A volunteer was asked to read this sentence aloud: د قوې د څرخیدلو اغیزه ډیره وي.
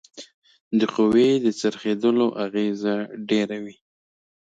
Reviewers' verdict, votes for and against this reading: accepted, 2, 0